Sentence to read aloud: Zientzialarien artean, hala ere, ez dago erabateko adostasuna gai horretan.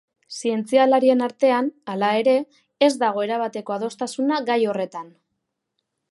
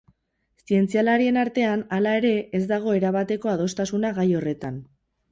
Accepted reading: first